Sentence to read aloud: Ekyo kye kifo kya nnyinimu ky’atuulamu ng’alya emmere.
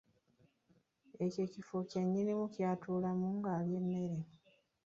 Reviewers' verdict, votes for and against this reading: accepted, 2, 0